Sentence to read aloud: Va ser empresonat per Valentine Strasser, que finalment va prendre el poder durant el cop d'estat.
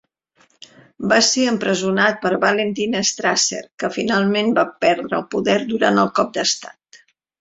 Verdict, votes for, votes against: rejected, 0, 3